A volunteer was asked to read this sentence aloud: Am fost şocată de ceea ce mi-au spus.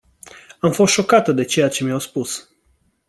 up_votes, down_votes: 2, 0